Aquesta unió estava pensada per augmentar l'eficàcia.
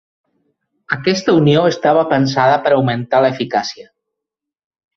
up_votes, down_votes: 2, 0